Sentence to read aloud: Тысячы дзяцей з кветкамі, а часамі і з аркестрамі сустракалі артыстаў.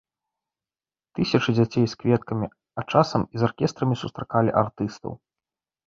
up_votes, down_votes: 0, 2